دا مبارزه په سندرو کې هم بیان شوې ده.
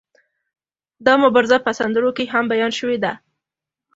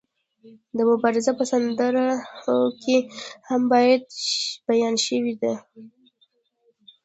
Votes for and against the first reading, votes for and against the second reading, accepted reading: 2, 0, 0, 2, first